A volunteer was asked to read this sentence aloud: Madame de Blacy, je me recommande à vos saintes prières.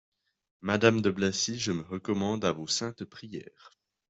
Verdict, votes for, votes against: accepted, 2, 0